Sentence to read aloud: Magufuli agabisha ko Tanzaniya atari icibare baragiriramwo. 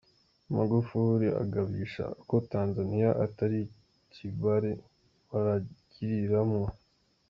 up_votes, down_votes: 1, 2